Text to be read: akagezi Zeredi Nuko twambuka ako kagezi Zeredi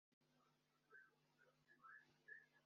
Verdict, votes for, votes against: rejected, 0, 2